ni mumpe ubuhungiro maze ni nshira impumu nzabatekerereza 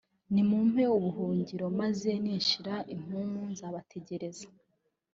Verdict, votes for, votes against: rejected, 1, 2